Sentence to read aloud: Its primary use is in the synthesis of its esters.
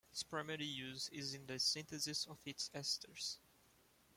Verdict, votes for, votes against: rejected, 1, 2